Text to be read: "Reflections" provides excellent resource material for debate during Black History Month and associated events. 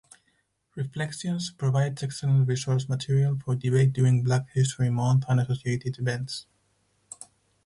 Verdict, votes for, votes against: rejected, 2, 4